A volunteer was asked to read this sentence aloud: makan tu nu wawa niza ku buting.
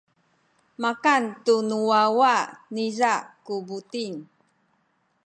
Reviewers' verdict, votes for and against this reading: rejected, 1, 2